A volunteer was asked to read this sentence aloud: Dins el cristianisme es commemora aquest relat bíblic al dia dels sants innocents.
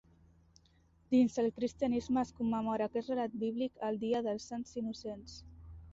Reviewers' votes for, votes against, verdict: 2, 0, accepted